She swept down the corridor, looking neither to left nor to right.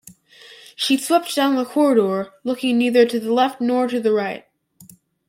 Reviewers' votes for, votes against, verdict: 0, 2, rejected